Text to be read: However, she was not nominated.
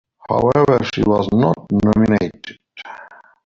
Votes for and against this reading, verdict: 2, 0, accepted